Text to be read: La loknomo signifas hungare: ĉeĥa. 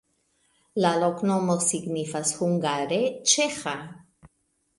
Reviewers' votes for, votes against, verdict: 2, 0, accepted